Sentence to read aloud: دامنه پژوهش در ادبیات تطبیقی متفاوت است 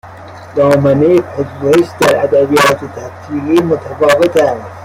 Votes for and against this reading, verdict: 1, 2, rejected